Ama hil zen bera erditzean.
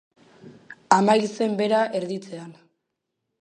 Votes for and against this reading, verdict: 1, 2, rejected